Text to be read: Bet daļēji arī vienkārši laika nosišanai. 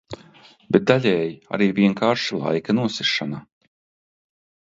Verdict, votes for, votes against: rejected, 1, 2